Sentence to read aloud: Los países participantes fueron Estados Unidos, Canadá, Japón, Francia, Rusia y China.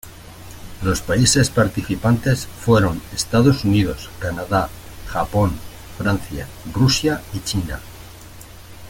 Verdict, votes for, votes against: accepted, 2, 0